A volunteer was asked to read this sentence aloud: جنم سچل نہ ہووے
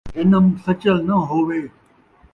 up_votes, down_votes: 1, 2